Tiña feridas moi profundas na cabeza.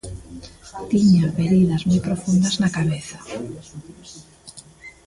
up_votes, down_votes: 2, 1